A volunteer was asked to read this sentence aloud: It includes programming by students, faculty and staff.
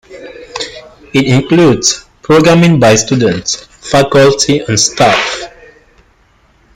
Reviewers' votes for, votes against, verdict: 2, 0, accepted